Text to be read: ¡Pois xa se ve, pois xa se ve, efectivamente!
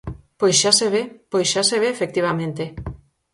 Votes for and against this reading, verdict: 4, 0, accepted